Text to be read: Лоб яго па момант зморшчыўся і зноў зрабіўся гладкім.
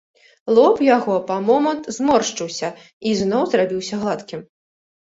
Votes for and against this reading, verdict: 2, 0, accepted